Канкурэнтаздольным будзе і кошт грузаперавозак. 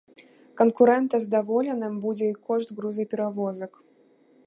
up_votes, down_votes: 0, 2